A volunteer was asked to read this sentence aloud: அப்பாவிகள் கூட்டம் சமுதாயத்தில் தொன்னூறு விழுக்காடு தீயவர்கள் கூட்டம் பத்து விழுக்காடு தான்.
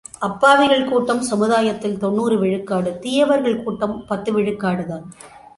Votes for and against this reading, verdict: 2, 1, accepted